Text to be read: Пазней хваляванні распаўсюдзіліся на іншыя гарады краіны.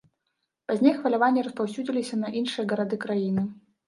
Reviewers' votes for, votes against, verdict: 1, 2, rejected